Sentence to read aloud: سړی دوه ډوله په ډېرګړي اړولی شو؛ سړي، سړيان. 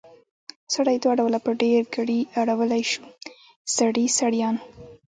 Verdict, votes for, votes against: rejected, 1, 2